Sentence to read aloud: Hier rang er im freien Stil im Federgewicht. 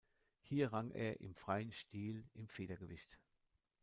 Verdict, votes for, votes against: rejected, 0, 2